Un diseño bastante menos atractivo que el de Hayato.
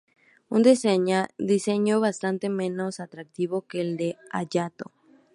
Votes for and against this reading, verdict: 2, 0, accepted